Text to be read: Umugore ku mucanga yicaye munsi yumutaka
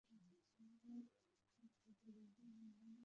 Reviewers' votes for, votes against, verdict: 0, 2, rejected